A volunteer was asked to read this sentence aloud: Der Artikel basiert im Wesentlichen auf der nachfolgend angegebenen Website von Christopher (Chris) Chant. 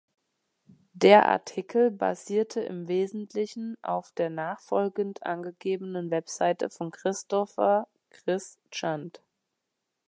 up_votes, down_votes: 0, 2